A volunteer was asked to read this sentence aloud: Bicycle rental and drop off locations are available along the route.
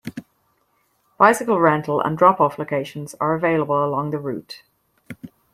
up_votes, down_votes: 2, 0